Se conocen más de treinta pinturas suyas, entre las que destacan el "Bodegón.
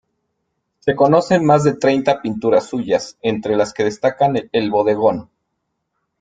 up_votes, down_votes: 1, 2